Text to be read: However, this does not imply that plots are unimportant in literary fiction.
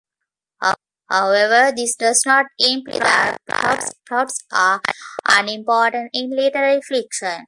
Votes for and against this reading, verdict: 0, 2, rejected